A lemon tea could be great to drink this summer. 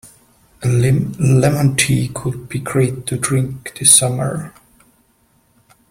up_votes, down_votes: 1, 2